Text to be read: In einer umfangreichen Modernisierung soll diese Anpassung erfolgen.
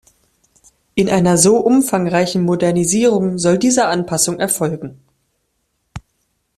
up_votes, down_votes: 0, 2